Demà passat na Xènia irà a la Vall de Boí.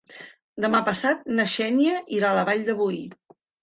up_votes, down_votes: 1, 2